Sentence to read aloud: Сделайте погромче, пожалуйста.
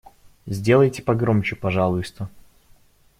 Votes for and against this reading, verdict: 0, 2, rejected